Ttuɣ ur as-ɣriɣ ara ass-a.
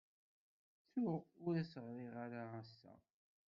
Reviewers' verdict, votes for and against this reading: rejected, 1, 2